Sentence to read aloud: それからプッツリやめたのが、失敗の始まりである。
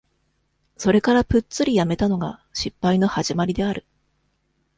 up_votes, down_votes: 2, 0